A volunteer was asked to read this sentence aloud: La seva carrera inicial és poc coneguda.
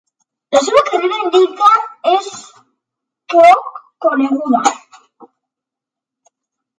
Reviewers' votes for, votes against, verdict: 0, 2, rejected